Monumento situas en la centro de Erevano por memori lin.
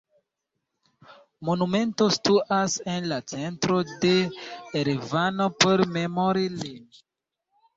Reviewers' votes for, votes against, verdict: 1, 2, rejected